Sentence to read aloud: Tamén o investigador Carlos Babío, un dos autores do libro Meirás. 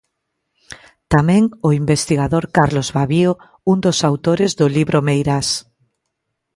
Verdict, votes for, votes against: accepted, 2, 0